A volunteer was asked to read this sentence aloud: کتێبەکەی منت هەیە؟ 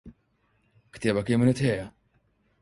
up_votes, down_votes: 4, 0